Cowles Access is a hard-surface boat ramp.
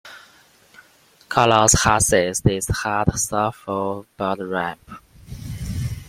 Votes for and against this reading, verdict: 0, 2, rejected